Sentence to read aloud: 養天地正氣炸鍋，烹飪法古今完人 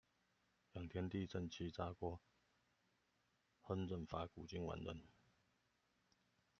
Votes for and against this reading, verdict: 0, 2, rejected